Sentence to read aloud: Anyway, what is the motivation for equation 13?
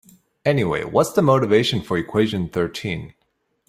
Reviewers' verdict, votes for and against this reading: rejected, 0, 2